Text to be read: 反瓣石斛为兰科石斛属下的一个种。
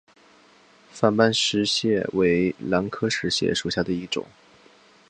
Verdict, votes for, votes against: accepted, 2, 0